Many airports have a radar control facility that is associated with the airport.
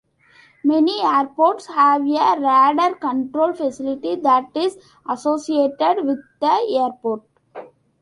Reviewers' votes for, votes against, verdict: 2, 1, accepted